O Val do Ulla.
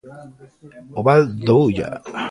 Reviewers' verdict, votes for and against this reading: accepted, 2, 0